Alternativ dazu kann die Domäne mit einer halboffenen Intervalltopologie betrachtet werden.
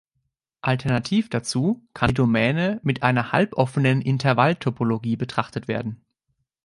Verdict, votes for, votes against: rejected, 0, 2